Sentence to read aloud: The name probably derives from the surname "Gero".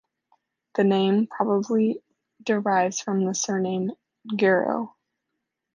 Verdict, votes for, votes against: accepted, 2, 0